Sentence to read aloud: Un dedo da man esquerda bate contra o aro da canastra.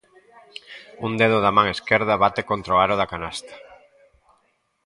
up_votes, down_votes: 0, 2